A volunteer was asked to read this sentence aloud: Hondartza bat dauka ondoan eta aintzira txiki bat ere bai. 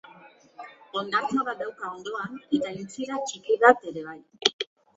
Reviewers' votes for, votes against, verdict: 0, 2, rejected